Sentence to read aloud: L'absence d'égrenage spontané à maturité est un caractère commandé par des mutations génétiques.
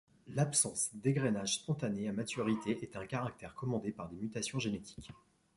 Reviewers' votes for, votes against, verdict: 2, 0, accepted